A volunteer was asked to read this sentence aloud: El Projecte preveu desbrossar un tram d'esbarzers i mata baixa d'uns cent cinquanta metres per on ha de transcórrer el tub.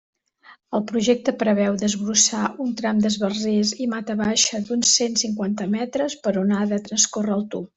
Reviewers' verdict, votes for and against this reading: accepted, 2, 0